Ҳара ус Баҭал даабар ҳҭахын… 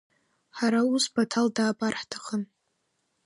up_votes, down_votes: 3, 0